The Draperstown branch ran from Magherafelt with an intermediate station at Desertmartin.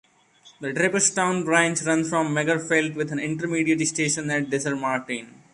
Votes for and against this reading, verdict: 2, 1, accepted